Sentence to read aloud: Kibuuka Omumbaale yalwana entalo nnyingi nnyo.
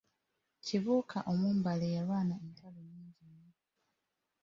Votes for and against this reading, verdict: 1, 2, rejected